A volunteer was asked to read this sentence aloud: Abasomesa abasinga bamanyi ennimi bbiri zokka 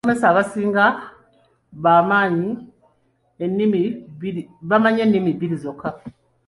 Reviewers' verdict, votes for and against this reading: rejected, 1, 2